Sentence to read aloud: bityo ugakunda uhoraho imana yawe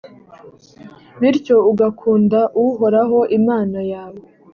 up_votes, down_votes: 3, 0